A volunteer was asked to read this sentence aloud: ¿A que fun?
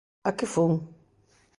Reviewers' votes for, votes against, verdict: 2, 0, accepted